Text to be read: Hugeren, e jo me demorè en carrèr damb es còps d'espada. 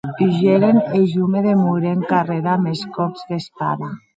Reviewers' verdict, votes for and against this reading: accepted, 4, 0